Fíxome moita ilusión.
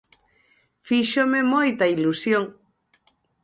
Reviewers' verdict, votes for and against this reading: accepted, 4, 0